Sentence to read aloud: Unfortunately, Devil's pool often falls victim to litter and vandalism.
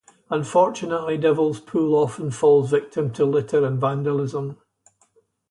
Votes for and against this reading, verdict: 2, 0, accepted